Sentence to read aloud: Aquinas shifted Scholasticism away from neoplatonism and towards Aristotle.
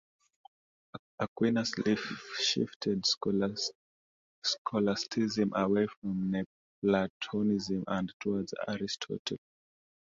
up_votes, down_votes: 0, 2